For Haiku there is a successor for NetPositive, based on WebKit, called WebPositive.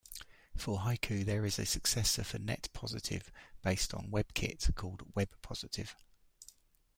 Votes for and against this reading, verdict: 2, 0, accepted